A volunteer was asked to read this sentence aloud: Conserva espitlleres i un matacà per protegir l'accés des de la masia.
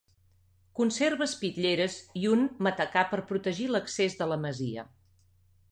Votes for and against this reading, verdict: 1, 2, rejected